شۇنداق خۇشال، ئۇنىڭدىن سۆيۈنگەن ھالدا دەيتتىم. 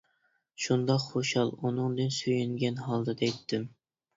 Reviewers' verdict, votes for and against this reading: accepted, 2, 1